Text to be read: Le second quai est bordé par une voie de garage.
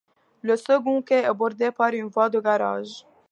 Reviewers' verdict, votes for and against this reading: accepted, 2, 0